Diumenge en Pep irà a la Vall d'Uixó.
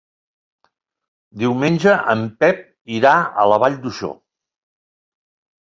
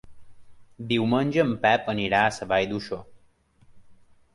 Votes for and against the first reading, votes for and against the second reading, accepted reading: 3, 0, 0, 2, first